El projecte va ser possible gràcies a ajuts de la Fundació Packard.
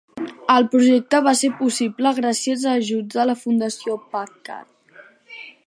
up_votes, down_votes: 3, 0